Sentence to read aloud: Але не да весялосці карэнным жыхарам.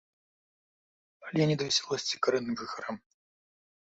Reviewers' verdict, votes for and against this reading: rejected, 0, 2